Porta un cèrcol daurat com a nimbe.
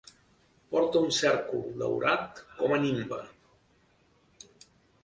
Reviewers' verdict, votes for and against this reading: accepted, 2, 0